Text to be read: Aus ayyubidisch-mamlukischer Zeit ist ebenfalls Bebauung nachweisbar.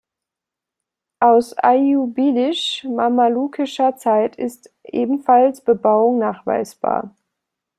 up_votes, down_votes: 1, 2